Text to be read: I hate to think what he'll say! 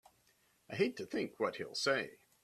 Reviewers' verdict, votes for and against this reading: accepted, 2, 0